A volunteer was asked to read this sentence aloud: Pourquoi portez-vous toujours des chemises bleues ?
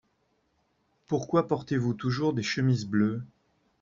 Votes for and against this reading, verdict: 2, 0, accepted